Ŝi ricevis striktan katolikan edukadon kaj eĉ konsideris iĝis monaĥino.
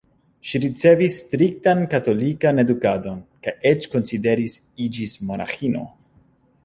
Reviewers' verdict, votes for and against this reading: rejected, 0, 2